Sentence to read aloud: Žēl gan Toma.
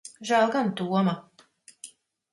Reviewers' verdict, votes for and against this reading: accepted, 4, 0